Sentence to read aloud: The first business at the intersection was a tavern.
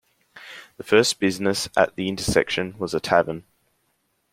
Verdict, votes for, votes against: accepted, 2, 0